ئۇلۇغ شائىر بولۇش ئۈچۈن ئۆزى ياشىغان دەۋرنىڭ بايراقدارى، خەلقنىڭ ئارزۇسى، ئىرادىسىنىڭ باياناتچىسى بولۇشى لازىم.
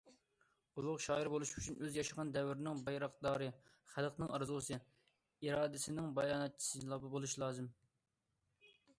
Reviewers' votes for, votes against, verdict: 1, 2, rejected